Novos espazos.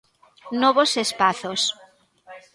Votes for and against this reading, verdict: 2, 0, accepted